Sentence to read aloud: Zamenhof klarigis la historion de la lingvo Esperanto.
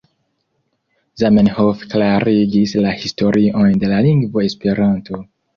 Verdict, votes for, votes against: rejected, 1, 2